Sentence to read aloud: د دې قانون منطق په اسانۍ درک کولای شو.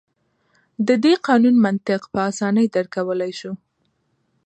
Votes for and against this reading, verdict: 2, 0, accepted